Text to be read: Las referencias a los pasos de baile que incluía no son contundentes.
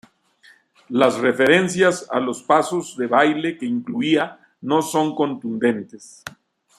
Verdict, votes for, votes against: accepted, 2, 0